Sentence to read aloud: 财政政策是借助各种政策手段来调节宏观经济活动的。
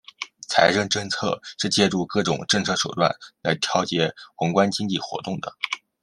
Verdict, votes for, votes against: accepted, 2, 0